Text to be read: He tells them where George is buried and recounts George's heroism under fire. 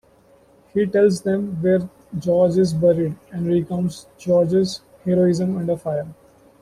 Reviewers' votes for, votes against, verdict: 2, 0, accepted